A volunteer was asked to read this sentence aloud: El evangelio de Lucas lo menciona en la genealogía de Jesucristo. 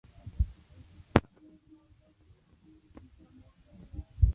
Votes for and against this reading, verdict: 0, 2, rejected